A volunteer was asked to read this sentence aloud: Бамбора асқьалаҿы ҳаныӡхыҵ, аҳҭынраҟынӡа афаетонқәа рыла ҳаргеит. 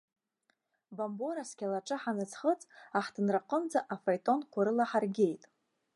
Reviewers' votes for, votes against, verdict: 2, 0, accepted